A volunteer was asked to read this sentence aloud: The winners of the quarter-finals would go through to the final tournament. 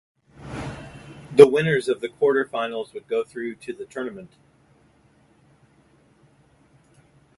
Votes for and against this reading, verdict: 0, 2, rejected